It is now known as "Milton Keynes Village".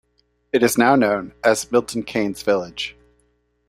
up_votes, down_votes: 2, 0